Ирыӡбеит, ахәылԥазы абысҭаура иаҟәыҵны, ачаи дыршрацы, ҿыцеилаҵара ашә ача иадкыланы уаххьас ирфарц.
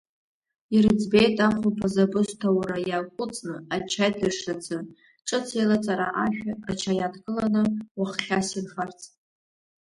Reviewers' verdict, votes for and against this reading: accepted, 2, 1